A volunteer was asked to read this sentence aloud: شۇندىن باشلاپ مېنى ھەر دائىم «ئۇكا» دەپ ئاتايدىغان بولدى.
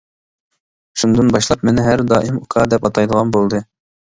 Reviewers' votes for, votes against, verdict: 2, 0, accepted